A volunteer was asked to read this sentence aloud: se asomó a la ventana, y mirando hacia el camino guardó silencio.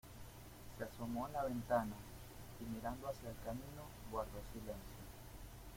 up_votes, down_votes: 2, 1